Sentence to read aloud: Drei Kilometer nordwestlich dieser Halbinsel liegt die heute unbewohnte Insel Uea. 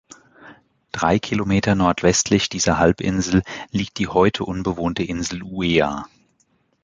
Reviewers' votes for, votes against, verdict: 2, 0, accepted